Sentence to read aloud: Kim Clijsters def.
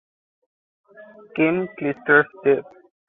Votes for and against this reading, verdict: 2, 1, accepted